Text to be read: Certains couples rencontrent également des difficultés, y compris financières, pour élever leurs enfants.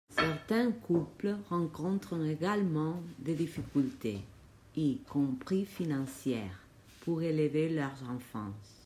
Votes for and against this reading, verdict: 2, 0, accepted